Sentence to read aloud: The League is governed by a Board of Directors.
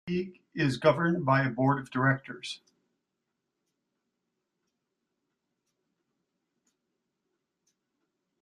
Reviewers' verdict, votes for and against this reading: rejected, 0, 2